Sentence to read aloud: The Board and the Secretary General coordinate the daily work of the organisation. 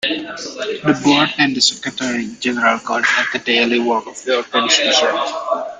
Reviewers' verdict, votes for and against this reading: rejected, 1, 2